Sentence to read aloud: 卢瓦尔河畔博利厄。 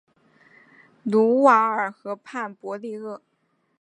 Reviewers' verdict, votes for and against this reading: accepted, 2, 0